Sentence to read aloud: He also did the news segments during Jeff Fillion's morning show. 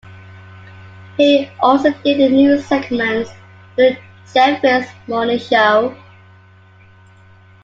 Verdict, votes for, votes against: rejected, 0, 2